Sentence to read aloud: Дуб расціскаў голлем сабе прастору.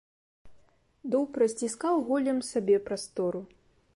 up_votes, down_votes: 3, 0